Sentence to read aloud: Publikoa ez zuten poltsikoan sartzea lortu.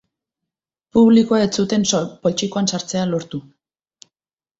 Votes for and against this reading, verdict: 0, 2, rejected